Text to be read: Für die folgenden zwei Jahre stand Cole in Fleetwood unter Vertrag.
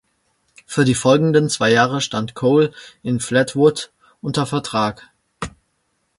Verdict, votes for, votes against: rejected, 1, 2